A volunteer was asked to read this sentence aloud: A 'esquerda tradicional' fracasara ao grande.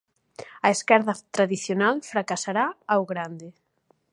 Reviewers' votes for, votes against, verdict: 0, 2, rejected